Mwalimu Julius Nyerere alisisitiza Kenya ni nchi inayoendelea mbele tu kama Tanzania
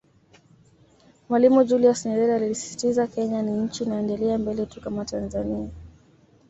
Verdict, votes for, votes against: accepted, 2, 0